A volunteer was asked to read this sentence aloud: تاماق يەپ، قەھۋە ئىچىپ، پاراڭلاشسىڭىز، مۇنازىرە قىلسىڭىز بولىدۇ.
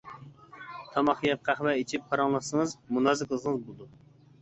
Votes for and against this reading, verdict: 0, 2, rejected